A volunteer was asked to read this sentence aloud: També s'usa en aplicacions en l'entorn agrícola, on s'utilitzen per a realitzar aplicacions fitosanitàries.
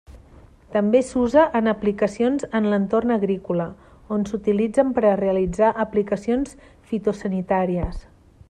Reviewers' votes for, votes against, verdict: 3, 0, accepted